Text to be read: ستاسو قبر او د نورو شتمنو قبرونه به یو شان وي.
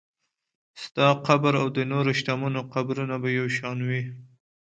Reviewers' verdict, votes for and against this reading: accepted, 2, 0